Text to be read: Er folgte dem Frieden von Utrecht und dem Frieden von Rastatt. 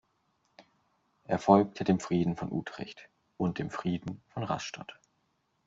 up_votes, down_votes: 3, 0